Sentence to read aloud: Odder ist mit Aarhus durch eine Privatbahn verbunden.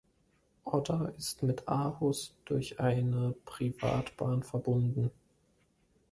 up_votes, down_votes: 2, 0